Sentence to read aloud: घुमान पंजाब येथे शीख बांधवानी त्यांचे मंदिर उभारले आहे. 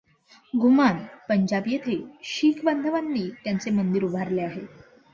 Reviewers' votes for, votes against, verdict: 2, 0, accepted